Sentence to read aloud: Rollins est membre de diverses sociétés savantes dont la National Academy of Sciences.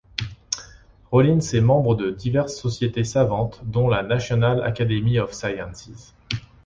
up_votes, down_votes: 2, 0